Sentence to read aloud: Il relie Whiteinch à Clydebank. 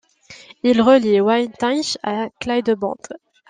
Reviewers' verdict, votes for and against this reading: rejected, 0, 2